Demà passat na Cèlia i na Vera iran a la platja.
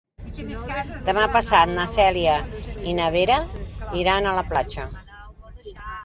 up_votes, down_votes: 1, 2